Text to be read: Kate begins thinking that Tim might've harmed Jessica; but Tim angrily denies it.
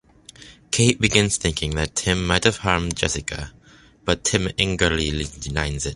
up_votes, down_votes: 0, 2